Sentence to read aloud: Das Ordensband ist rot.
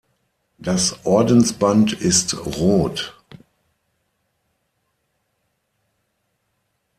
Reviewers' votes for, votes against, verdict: 6, 0, accepted